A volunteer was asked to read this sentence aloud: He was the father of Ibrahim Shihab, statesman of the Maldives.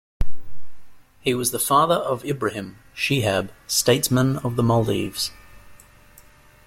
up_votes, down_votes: 2, 0